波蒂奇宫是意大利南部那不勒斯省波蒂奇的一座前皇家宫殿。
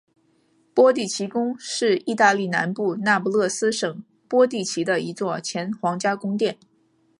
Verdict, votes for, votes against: accepted, 5, 0